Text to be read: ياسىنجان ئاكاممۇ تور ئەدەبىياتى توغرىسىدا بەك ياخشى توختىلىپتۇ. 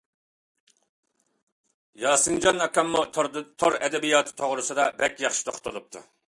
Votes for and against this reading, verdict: 2, 1, accepted